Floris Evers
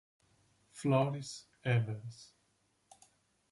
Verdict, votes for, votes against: accepted, 3, 2